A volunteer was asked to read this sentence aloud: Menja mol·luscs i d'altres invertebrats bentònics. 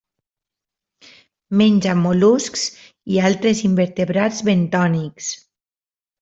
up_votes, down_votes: 2, 0